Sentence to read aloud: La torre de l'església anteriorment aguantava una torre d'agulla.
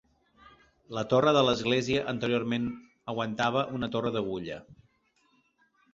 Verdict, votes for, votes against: accepted, 2, 0